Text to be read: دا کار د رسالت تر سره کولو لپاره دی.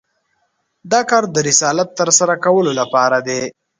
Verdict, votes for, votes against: accepted, 2, 0